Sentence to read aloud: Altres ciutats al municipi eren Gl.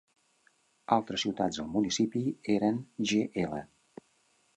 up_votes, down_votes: 2, 0